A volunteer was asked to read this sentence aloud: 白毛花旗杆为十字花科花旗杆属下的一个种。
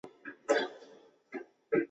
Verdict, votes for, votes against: rejected, 1, 2